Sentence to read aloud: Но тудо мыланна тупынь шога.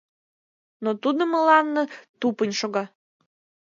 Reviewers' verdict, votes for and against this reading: rejected, 1, 2